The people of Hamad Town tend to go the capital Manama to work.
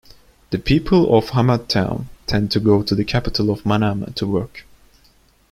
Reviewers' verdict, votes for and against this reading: rejected, 1, 2